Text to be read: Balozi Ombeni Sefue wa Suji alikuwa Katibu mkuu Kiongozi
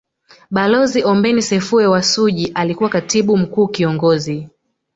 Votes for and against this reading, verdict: 0, 2, rejected